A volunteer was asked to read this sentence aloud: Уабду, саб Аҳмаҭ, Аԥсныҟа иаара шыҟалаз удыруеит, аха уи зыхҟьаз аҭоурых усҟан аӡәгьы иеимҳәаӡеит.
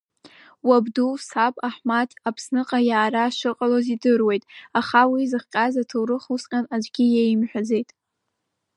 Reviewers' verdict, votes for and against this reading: accepted, 2, 0